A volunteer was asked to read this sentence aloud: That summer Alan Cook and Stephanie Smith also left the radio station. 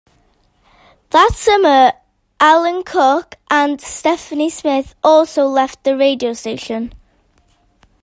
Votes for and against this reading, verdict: 2, 0, accepted